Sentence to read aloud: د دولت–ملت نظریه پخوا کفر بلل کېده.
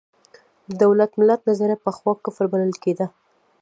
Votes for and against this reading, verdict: 2, 0, accepted